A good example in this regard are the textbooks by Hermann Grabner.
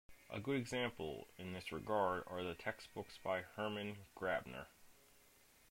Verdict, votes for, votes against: accepted, 2, 1